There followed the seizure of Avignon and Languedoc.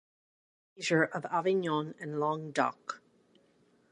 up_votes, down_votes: 0, 2